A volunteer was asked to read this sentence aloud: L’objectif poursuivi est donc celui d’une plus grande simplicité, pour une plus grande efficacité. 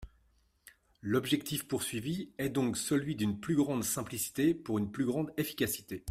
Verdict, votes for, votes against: accepted, 2, 0